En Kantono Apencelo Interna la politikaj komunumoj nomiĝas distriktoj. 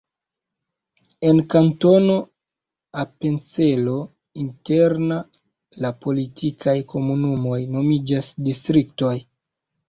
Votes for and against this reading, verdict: 0, 2, rejected